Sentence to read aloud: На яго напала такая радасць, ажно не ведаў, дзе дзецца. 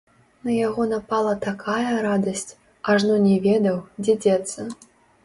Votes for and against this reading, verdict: 0, 2, rejected